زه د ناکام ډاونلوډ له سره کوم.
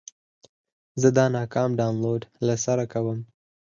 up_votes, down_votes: 0, 4